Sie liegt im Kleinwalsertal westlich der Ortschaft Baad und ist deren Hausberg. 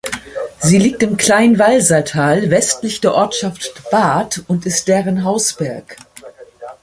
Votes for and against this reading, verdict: 2, 1, accepted